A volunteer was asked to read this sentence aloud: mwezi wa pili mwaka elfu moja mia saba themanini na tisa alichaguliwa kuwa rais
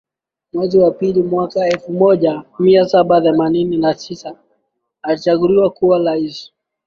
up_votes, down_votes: 2, 0